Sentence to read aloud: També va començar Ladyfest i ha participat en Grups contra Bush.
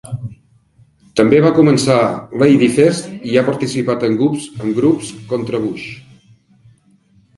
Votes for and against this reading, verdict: 1, 3, rejected